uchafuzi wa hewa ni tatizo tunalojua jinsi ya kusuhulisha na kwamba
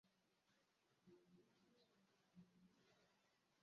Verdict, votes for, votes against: rejected, 0, 2